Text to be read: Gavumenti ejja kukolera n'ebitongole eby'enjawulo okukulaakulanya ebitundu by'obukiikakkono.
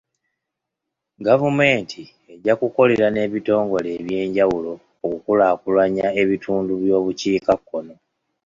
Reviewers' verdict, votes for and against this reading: accepted, 2, 0